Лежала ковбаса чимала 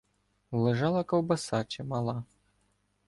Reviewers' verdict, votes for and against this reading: accepted, 2, 0